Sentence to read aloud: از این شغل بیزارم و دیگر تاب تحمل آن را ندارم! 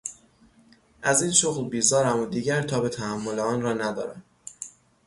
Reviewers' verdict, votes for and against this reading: rejected, 0, 3